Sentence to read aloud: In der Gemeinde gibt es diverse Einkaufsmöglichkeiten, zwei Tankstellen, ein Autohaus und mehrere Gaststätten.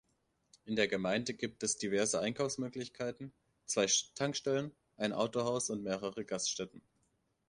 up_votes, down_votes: 0, 2